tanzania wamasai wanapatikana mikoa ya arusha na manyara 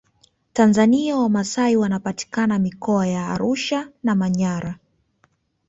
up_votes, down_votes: 2, 0